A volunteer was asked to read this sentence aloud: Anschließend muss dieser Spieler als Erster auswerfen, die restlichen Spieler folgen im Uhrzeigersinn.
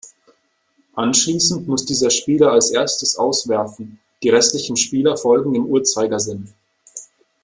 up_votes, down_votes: 1, 2